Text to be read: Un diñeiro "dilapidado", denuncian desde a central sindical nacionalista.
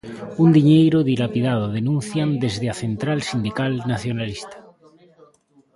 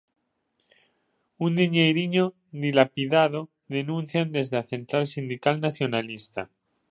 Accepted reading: first